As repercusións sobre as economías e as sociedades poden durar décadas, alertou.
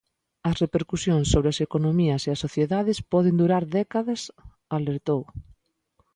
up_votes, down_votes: 2, 1